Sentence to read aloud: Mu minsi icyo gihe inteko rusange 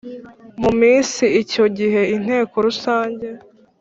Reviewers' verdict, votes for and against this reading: accepted, 3, 0